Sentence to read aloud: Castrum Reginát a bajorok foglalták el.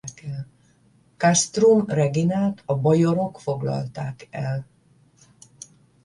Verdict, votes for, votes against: rejected, 5, 5